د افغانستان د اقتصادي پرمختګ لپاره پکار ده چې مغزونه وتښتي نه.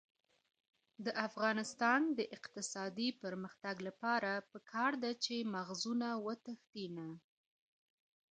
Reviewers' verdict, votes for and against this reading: rejected, 1, 2